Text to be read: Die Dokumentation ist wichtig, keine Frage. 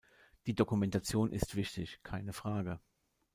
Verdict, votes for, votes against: rejected, 1, 2